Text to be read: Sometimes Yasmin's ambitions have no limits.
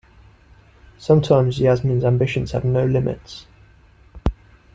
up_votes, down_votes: 2, 1